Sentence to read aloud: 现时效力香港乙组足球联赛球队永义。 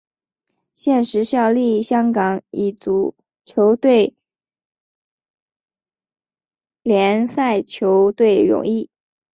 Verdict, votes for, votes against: rejected, 1, 2